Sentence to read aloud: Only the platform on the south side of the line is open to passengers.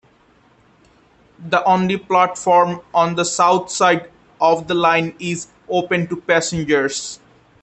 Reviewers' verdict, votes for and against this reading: rejected, 0, 2